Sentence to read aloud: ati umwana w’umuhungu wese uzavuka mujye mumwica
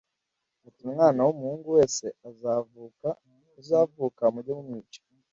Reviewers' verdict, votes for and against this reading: rejected, 1, 2